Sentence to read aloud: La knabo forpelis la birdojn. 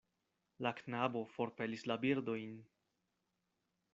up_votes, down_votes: 2, 0